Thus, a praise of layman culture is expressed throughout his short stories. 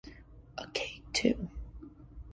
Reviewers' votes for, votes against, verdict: 0, 2, rejected